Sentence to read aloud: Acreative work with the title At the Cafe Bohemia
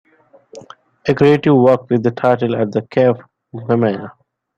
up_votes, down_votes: 0, 2